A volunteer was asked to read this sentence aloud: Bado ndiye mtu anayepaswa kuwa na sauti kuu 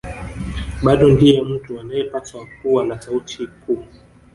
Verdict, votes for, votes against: rejected, 1, 2